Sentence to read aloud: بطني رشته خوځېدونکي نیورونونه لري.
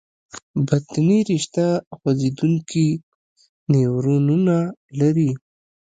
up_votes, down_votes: 0, 2